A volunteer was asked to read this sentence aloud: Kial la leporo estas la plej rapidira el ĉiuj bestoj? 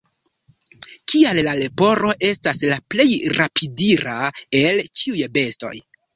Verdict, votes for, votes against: rejected, 1, 2